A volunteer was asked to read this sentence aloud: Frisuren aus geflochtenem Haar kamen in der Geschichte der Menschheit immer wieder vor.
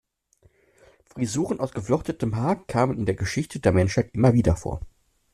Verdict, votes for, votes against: rejected, 1, 2